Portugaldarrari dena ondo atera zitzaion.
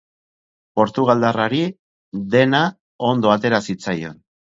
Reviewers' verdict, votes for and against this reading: accepted, 4, 0